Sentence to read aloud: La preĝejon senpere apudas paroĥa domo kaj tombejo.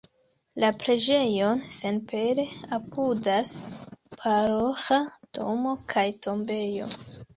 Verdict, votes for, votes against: accepted, 2, 0